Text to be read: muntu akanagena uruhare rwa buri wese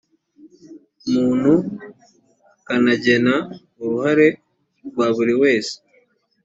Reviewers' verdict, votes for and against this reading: accepted, 2, 0